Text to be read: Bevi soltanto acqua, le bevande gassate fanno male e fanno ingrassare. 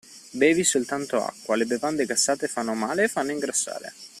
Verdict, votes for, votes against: accepted, 2, 0